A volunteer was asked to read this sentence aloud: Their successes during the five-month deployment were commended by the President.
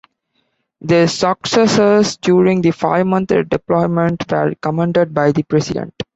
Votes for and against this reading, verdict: 2, 1, accepted